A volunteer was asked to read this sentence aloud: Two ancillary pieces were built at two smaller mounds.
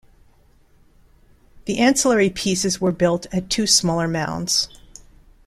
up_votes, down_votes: 0, 2